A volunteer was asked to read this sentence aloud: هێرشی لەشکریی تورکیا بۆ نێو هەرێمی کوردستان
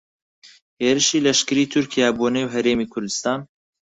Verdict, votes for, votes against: accepted, 4, 0